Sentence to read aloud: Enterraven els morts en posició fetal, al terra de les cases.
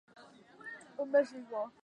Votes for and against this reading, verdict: 0, 2, rejected